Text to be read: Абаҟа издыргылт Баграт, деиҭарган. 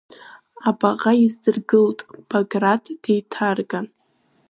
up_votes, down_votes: 2, 1